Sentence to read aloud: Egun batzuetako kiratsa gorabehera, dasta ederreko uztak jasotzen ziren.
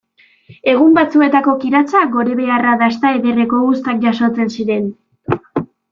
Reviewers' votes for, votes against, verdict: 1, 2, rejected